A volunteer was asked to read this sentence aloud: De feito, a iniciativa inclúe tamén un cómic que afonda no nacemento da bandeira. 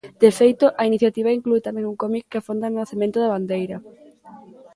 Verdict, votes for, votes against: rejected, 0, 2